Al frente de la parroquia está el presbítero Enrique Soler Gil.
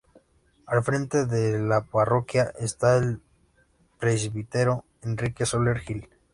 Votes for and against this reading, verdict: 2, 1, accepted